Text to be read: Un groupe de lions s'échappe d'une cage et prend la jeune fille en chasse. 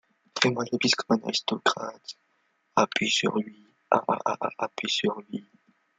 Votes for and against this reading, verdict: 0, 2, rejected